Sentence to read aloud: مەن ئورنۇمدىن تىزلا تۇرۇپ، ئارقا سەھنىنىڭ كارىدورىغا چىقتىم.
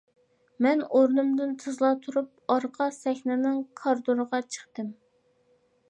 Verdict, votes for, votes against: accepted, 2, 0